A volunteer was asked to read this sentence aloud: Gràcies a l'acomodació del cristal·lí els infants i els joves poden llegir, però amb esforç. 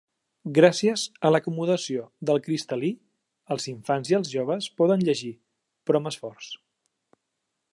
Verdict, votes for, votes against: accepted, 2, 0